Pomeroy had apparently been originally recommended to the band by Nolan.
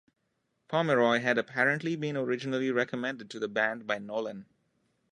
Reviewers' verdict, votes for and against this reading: accepted, 2, 0